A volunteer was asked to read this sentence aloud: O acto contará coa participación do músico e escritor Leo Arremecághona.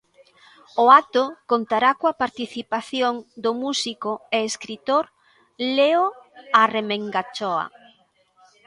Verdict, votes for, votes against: rejected, 0, 2